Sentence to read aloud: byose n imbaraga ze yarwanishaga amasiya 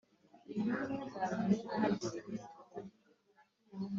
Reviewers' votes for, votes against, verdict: 0, 3, rejected